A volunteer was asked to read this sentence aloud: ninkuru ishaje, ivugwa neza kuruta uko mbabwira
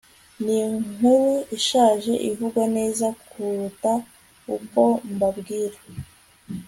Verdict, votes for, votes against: accepted, 2, 0